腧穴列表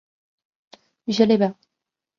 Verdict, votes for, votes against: accepted, 4, 0